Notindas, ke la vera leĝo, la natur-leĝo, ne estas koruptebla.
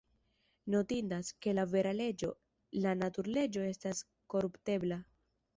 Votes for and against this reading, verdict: 1, 3, rejected